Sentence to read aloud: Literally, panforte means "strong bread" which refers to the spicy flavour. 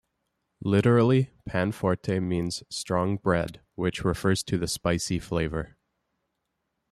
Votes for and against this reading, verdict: 2, 1, accepted